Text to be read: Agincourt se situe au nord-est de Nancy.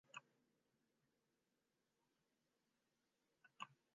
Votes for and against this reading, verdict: 0, 2, rejected